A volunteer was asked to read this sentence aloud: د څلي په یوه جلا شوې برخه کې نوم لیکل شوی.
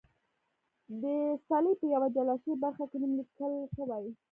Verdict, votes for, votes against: rejected, 1, 2